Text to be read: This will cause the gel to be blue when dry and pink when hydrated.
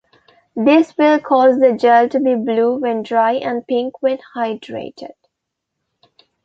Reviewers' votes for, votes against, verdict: 3, 1, accepted